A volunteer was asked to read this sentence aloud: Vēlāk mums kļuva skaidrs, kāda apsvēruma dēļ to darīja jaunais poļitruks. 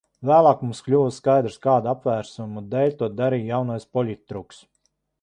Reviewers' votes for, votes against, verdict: 0, 2, rejected